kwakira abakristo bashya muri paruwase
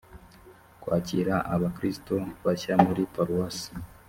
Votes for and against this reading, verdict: 2, 0, accepted